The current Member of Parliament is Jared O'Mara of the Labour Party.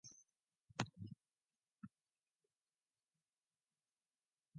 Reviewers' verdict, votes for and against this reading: rejected, 0, 2